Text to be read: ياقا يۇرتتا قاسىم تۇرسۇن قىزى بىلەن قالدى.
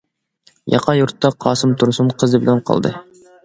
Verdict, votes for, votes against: accepted, 2, 0